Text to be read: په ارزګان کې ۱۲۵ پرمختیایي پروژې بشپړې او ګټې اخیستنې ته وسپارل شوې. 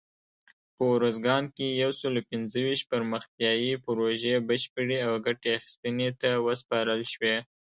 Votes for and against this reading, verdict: 0, 2, rejected